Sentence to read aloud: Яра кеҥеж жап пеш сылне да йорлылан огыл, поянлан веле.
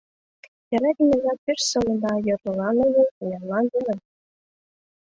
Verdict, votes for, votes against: rejected, 0, 2